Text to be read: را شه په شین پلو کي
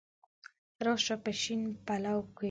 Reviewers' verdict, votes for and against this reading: accepted, 4, 0